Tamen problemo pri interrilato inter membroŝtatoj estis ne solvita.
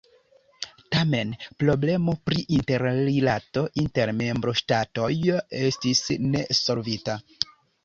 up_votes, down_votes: 2, 0